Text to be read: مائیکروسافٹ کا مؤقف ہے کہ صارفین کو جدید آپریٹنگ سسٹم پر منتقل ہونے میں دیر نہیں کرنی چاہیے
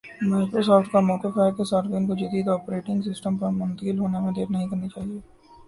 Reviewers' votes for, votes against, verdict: 1, 2, rejected